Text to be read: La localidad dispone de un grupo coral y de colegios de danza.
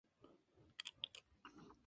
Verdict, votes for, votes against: rejected, 0, 2